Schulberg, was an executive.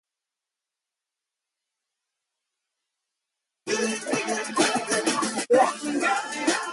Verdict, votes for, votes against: rejected, 0, 2